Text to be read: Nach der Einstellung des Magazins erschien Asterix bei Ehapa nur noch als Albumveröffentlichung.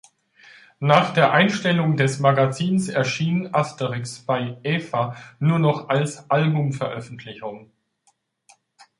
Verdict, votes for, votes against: rejected, 1, 2